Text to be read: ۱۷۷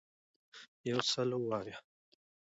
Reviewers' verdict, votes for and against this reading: rejected, 0, 2